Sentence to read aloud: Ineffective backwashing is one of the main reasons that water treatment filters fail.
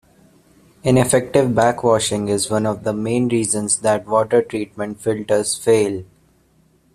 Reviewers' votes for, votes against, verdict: 2, 0, accepted